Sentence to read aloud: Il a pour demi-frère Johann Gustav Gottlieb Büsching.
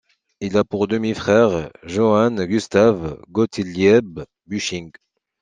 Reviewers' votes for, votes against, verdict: 2, 0, accepted